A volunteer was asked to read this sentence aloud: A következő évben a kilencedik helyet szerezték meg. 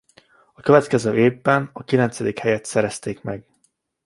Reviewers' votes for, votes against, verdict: 2, 0, accepted